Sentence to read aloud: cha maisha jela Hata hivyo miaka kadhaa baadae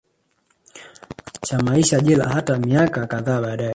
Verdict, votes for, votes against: rejected, 0, 2